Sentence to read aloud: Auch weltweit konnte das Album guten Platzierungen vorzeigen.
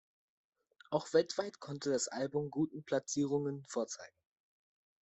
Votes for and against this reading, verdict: 2, 0, accepted